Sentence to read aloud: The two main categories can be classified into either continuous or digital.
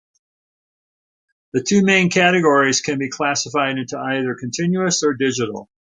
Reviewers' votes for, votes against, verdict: 2, 0, accepted